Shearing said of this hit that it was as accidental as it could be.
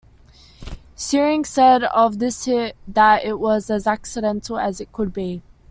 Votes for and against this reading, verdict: 2, 1, accepted